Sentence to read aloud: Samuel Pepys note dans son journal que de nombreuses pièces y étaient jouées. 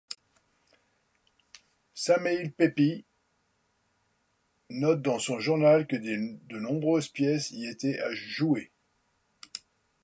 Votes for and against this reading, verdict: 1, 2, rejected